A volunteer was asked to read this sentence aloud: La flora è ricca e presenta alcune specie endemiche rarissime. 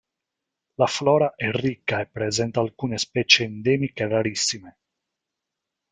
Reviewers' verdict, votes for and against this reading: accepted, 2, 1